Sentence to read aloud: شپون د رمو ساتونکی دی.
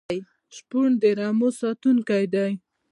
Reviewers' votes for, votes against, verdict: 2, 0, accepted